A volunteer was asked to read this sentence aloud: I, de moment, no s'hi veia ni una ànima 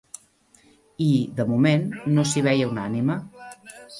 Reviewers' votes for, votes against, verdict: 0, 2, rejected